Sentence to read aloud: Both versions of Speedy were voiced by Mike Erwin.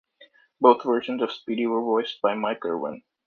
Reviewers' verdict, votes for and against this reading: rejected, 1, 2